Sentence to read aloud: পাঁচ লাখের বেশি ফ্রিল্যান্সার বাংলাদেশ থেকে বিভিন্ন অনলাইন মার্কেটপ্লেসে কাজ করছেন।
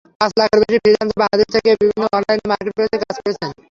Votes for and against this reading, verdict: 0, 3, rejected